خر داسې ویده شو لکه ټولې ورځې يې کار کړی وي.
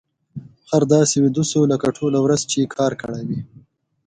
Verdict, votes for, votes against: accepted, 2, 0